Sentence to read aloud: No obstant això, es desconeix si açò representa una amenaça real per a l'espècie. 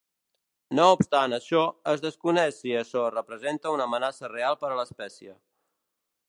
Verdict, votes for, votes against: accepted, 2, 0